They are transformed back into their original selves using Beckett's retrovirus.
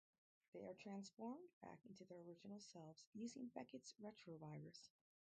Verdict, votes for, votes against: rejected, 0, 4